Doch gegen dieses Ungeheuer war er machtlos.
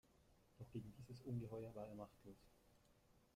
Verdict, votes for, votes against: rejected, 1, 2